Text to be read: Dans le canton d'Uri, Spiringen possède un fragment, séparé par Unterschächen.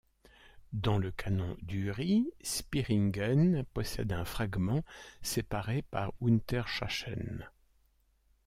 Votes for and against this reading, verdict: 0, 2, rejected